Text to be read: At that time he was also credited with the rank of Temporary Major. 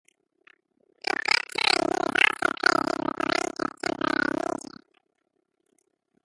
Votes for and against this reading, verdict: 0, 2, rejected